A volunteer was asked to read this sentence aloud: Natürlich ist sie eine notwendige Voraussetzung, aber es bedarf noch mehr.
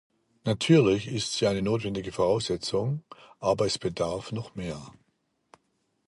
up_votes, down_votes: 2, 0